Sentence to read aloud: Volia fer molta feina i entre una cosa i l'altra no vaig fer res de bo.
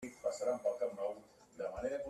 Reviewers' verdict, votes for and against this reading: rejected, 0, 2